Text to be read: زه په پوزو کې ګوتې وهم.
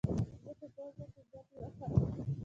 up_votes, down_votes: 2, 1